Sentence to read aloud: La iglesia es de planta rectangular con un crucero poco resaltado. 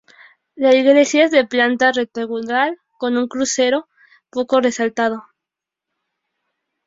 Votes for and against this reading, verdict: 2, 0, accepted